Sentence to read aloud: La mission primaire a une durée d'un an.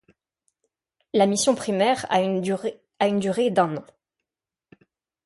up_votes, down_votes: 0, 2